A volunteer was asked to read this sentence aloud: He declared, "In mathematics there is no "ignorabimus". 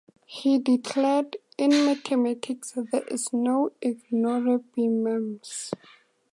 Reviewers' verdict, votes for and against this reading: accepted, 2, 0